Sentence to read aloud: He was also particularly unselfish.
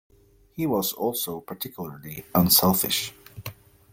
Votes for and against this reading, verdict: 2, 0, accepted